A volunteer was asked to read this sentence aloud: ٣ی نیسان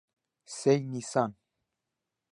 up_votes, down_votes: 0, 2